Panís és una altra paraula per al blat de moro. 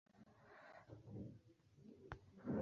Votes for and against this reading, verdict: 0, 2, rejected